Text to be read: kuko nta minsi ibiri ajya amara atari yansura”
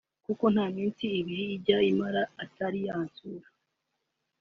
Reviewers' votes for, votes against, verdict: 2, 3, rejected